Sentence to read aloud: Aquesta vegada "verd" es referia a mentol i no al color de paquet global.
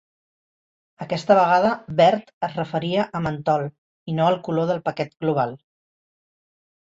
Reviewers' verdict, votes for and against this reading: rejected, 1, 2